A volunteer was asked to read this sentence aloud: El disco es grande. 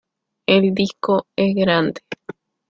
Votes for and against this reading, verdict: 2, 0, accepted